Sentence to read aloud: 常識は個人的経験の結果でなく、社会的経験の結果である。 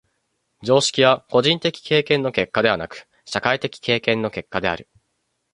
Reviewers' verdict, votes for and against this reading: rejected, 0, 2